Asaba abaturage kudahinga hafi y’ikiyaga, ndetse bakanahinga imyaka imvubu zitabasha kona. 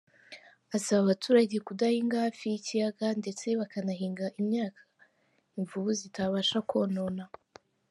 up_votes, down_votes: 2, 0